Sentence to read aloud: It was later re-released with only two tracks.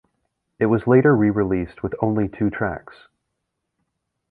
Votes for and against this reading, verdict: 2, 0, accepted